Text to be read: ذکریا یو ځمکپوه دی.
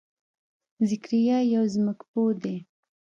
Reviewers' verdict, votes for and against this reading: accepted, 2, 0